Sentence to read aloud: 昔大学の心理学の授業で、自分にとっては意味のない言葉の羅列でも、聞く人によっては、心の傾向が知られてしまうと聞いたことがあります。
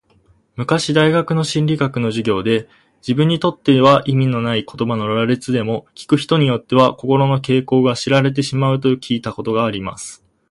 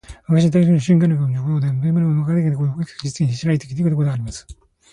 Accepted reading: first